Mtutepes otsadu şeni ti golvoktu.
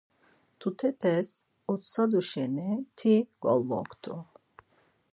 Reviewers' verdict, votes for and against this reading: accepted, 4, 0